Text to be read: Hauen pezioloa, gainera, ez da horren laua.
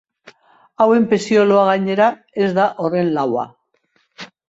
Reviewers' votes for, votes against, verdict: 2, 0, accepted